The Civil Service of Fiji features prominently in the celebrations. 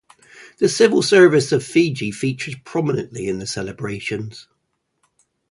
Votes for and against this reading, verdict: 0, 2, rejected